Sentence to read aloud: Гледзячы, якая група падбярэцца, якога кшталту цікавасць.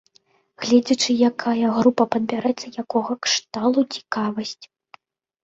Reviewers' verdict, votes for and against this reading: rejected, 0, 2